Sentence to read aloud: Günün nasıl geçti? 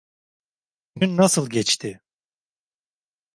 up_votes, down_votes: 1, 2